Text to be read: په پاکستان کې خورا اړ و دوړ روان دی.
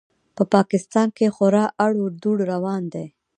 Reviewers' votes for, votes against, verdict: 0, 2, rejected